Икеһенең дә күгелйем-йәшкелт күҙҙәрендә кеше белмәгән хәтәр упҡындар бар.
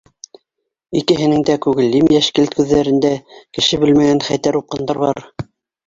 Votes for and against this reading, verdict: 2, 4, rejected